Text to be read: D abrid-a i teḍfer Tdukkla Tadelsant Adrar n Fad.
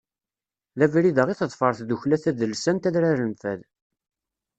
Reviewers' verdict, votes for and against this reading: accepted, 2, 0